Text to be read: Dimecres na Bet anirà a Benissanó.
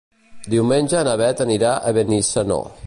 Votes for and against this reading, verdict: 1, 2, rejected